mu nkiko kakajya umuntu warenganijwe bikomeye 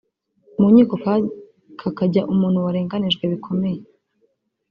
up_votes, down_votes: 1, 2